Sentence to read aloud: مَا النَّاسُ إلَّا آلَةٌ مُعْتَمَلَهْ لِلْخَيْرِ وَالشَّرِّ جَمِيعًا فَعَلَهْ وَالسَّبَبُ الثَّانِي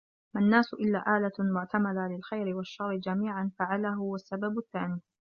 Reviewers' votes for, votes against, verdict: 1, 2, rejected